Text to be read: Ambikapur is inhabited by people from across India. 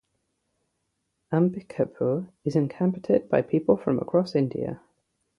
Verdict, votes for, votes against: rejected, 0, 3